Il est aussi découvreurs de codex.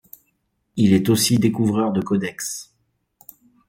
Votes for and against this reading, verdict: 3, 0, accepted